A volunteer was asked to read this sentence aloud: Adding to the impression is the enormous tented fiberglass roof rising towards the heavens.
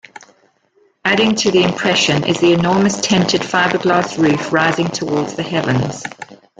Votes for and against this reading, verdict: 1, 2, rejected